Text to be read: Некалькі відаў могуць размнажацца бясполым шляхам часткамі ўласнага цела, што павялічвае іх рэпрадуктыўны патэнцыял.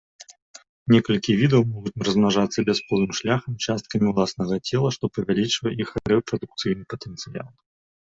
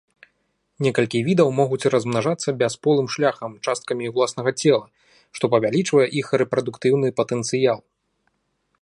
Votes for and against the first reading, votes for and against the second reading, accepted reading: 0, 2, 2, 0, second